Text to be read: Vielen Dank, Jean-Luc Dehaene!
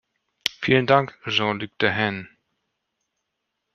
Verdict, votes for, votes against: accepted, 2, 0